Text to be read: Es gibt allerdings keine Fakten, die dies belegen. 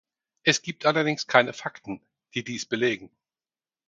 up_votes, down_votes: 4, 0